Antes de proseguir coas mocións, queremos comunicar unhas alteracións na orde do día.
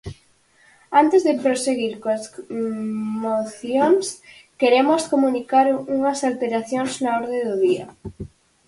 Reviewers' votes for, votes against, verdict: 2, 4, rejected